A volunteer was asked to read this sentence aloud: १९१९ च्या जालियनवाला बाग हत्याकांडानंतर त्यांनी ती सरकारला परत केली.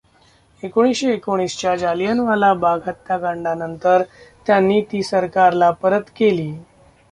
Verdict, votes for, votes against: rejected, 0, 2